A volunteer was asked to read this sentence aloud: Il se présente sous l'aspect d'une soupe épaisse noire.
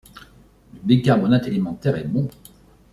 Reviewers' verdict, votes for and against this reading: rejected, 0, 2